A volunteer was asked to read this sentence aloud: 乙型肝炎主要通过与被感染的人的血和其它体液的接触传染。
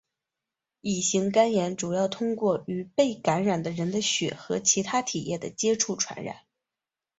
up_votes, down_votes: 3, 0